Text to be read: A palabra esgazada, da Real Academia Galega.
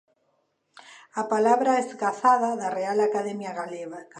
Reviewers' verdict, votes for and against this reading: accepted, 2, 0